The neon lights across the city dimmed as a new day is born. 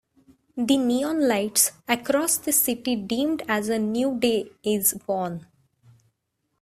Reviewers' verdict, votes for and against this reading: accepted, 2, 1